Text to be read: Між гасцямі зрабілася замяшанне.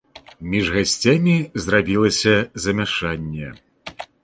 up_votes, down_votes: 2, 0